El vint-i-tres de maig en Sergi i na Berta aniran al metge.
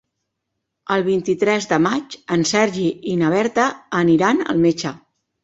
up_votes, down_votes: 2, 0